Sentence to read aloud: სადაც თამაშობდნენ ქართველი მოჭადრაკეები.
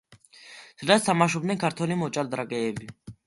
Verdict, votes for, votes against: accepted, 2, 0